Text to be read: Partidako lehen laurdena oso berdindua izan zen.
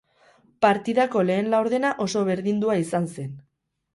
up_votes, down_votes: 8, 0